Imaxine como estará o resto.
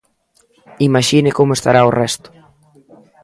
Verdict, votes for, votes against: rejected, 1, 2